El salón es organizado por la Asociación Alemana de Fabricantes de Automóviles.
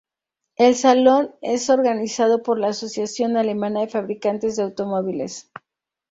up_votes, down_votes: 2, 0